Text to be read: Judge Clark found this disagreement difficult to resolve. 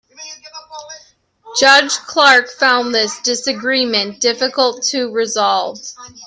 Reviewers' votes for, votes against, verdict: 1, 2, rejected